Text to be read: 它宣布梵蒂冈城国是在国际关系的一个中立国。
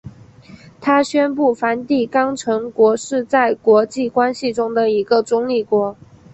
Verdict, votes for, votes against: accepted, 2, 0